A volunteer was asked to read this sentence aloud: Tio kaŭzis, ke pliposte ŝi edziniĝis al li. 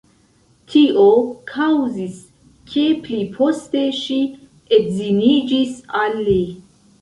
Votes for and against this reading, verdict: 1, 2, rejected